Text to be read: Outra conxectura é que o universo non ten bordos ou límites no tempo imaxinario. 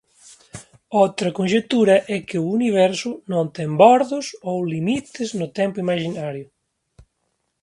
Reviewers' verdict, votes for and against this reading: rejected, 1, 2